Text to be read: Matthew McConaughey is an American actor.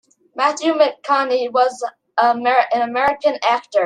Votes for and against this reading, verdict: 0, 2, rejected